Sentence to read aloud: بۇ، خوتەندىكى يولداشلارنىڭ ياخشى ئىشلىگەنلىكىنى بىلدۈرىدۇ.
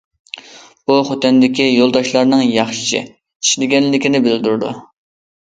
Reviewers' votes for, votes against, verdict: 2, 0, accepted